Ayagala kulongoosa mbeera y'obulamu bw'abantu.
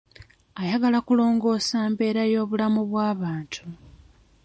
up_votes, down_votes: 2, 0